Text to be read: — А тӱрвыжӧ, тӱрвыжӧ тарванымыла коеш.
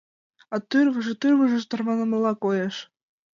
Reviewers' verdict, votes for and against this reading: accepted, 2, 0